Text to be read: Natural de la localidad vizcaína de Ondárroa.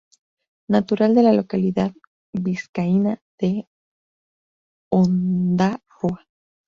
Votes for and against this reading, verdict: 2, 0, accepted